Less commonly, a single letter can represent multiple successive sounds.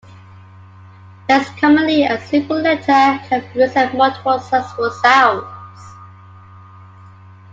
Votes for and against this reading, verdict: 2, 0, accepted